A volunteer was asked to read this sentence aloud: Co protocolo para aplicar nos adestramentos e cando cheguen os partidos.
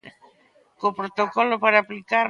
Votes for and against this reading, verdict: 0, 2, rejected